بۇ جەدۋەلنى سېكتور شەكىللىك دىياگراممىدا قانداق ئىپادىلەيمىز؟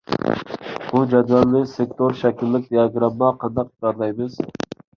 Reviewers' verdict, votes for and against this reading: rejected, 0, 2